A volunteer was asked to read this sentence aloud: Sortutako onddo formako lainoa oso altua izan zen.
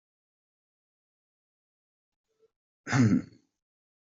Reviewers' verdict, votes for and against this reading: rejected, 0, 2